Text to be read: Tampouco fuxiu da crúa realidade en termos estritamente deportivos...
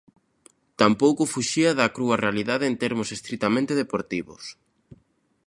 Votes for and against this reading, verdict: 0, 2, rejected